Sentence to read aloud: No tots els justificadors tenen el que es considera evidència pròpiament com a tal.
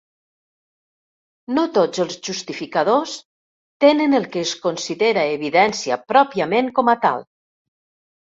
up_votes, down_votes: 2, 0